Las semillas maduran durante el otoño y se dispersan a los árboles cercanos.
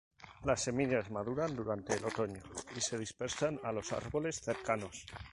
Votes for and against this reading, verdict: 0, 2, rejected